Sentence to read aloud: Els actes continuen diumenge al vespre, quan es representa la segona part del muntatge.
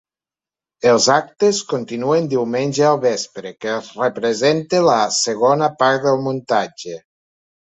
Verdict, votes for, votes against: rejected, 1, 2